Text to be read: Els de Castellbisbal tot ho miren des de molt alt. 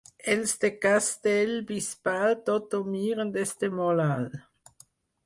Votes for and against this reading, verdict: 4, 0, accepted